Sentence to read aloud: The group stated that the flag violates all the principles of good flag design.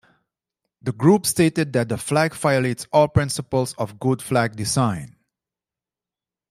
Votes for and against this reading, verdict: 0, 2, rejected